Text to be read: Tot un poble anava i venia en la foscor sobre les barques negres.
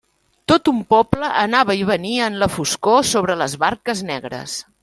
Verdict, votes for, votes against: accepted, 3, 0